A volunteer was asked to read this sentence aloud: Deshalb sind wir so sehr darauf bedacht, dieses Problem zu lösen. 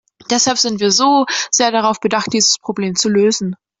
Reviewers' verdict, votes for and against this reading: accepted, 2, 0